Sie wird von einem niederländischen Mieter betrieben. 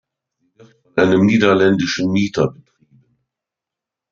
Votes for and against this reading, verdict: 0, 2, rejected